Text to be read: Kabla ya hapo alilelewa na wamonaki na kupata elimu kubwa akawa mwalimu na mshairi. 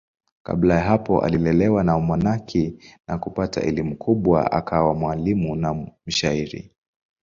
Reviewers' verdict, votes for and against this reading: accepted, 6, 1